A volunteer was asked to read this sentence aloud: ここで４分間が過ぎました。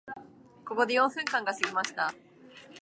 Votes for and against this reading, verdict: 0, 2, rejected